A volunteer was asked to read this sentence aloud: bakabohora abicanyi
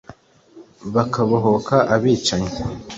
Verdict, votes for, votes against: rejected, 1, 2